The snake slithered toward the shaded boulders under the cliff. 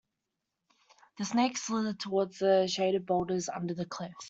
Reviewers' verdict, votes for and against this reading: accepted, 2, 1